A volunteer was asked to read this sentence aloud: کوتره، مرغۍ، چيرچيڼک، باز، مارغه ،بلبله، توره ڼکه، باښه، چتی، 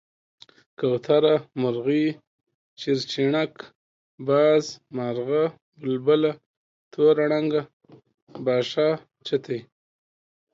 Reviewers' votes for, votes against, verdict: 2, 0, accepted